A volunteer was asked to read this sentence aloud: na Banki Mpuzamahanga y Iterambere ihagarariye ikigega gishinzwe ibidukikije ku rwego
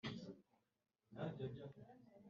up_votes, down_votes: 1, 2